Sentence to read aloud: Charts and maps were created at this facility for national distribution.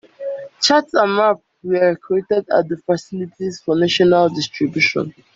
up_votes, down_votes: 1, 2